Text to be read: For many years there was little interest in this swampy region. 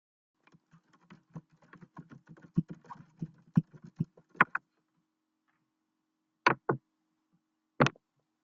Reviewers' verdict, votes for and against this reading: rejected, 0, 2